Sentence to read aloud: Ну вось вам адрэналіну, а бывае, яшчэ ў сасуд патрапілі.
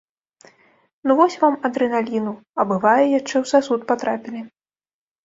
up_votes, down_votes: 1, 2